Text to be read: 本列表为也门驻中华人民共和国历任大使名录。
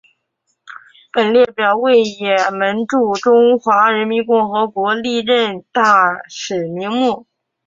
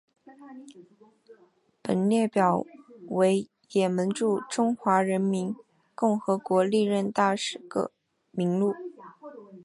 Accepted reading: first